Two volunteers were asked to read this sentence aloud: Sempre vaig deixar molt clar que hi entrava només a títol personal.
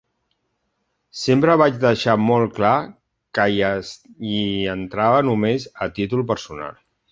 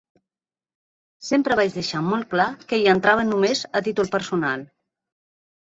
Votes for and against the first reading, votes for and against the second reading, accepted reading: 2, 3, 2, 0, second